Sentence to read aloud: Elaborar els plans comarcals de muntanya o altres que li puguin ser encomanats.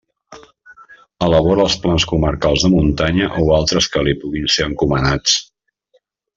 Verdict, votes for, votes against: rejected, 1, 2